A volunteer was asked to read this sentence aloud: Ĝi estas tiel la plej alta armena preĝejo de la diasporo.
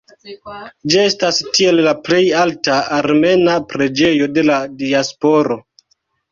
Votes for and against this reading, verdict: 2, 0, accepted